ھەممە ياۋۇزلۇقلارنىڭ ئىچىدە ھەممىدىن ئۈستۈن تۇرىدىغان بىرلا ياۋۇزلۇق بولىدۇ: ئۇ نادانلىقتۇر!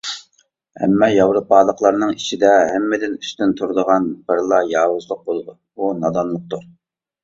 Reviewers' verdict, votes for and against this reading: rejected, 1, 2